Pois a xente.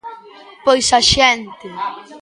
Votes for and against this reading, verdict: 1, 2, rejected